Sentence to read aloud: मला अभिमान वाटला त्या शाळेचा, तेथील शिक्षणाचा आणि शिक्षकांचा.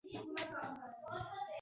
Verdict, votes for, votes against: rejected, 0, 2